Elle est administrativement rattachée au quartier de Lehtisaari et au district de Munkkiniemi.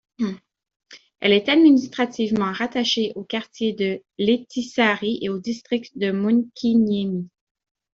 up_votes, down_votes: 2, 0